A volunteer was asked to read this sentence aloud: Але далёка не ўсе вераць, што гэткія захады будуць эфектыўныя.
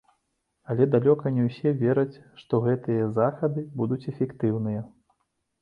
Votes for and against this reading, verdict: 0, 2, rejected